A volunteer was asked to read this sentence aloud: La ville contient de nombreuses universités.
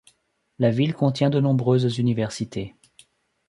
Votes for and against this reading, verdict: 2, 0, accepted